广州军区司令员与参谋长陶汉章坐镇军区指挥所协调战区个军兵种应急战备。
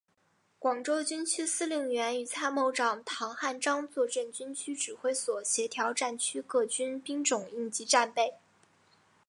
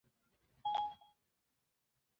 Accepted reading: first